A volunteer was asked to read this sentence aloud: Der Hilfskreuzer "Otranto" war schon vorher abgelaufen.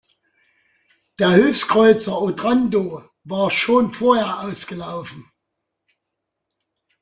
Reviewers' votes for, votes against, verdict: 0, 2, rejected